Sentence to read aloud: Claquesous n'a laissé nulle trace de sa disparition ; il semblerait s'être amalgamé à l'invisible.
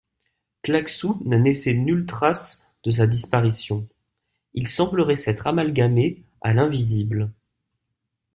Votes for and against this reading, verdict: 2, 0, accepted